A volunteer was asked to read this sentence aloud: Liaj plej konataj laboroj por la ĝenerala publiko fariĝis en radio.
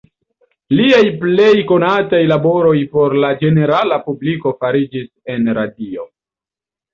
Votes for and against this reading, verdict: 2, 0, accepted